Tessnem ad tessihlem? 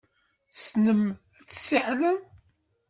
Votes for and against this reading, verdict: 0, 2, rejected